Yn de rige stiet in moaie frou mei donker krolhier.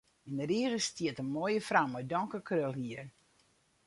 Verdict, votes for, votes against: rejected, 2, 2